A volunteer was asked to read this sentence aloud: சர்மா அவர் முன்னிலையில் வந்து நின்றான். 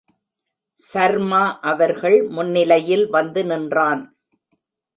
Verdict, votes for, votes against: rejected, 1, 2